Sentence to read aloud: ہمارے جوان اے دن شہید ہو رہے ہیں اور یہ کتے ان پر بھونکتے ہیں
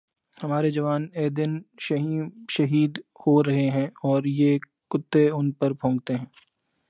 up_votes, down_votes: 0, 2